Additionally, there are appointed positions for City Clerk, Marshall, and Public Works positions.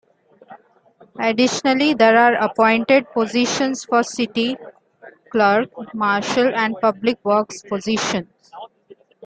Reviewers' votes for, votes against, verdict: 2, 0, accepted